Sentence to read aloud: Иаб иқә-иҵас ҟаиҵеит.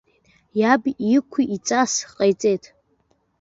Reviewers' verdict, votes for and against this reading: accepted, 2, 0